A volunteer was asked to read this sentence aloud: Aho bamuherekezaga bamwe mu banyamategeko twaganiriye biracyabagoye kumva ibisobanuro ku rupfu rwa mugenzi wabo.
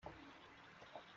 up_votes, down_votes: 0, 2